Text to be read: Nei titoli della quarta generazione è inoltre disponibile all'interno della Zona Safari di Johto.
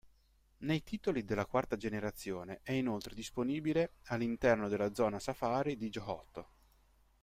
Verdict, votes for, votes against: accepted, 2, 0